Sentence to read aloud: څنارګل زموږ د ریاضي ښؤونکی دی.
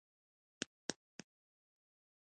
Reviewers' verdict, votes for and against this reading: rejected, 0, 2